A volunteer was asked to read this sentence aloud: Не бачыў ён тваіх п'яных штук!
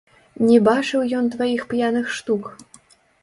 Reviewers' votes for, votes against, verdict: 0, 2, rejected